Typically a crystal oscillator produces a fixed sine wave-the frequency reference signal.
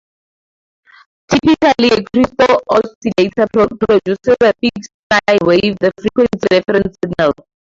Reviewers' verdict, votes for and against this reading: rejected, 0, 4